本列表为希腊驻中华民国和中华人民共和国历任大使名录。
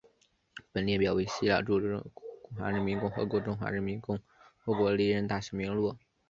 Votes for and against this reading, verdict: 0, 2, rejected